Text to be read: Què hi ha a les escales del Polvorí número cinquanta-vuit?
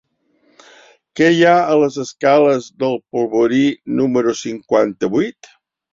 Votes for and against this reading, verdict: 3, 0, accepted